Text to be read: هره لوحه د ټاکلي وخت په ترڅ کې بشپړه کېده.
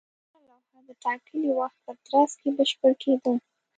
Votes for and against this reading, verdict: 1, 2, rejected